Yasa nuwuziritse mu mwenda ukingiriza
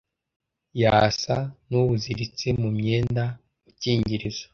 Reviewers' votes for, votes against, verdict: 2, 0, accepted